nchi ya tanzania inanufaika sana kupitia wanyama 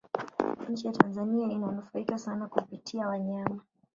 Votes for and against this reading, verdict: 1, 2, rejected